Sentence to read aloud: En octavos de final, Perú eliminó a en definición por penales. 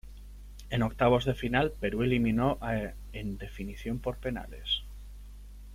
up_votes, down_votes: 1, 2